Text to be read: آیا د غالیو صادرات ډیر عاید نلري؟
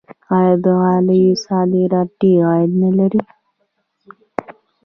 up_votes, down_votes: 1, 2